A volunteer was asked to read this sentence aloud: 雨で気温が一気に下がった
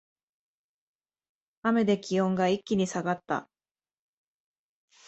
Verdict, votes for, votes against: accepted, 2, 0